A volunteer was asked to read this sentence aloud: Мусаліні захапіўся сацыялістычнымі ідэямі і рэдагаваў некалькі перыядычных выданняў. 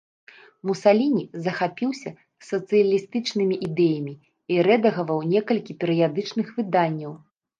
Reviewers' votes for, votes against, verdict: 1, 2, rejected